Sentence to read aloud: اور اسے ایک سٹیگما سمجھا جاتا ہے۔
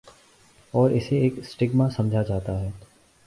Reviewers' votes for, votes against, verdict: 2, 0, accepted